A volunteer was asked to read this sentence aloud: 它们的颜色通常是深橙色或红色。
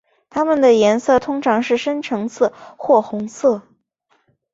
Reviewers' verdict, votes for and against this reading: accepted, 3, 0